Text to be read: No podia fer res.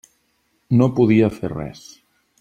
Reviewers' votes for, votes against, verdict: 3, 0, accepted